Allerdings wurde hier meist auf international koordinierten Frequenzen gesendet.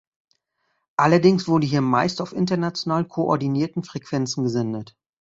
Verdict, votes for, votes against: accepted, 2, 0